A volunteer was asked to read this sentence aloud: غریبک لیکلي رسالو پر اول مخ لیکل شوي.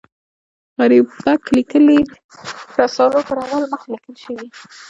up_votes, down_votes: 1, 2